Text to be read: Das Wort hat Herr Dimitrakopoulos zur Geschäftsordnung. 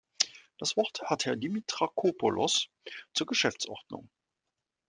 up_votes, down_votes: 2, 0